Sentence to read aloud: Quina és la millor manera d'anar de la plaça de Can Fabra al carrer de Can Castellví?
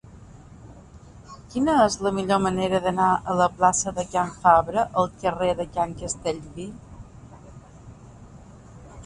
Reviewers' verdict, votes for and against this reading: accepted, 2, 1